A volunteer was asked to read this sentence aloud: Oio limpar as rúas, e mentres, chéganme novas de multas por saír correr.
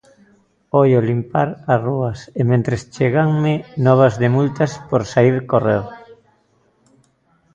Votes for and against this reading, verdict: 0, 2, rejected